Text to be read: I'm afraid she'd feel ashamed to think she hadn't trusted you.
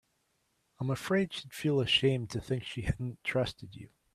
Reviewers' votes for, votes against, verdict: 2, 1, accepted